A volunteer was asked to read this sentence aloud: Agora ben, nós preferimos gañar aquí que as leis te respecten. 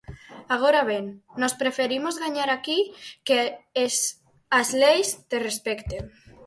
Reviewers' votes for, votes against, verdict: 0, 6, rejected